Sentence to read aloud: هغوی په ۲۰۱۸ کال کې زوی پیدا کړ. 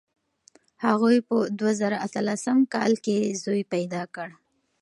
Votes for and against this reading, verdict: 0, 2, rejected